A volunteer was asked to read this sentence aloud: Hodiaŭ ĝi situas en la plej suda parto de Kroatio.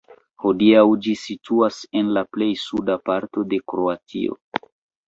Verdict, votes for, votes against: rejected, 2, 3